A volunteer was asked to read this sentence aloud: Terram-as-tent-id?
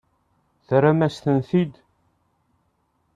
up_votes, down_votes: 2, 0